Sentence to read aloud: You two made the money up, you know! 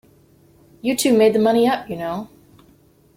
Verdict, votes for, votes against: accepted, 2, 0